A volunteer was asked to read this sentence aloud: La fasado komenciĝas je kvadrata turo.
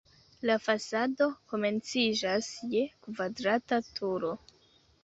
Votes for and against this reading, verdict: 2, 0, accepted